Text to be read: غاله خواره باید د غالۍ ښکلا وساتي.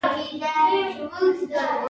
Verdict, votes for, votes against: rejected, 1, 2